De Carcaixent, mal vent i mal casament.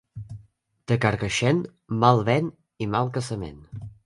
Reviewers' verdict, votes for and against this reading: accepted, 4, 0